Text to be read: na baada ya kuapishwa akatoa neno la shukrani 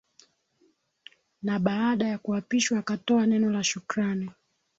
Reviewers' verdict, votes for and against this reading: rejected, 1, 2